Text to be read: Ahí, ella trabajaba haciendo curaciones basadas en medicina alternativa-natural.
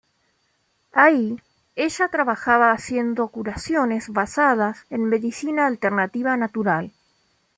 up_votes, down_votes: 2, 0